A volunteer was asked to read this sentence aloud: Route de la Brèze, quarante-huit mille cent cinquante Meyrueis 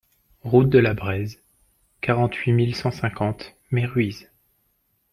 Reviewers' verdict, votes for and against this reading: accepted, 2, 0